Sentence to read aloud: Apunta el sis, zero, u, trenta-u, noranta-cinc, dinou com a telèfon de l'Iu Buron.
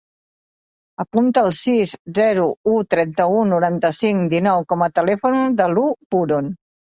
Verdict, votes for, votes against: rejected, 1, 2